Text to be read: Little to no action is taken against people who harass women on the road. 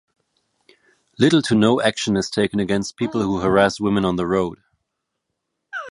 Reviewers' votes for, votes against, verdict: 2, 1, accepted